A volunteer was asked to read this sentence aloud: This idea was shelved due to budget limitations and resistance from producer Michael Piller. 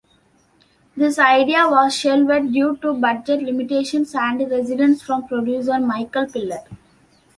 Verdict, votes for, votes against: rejected, 0, 2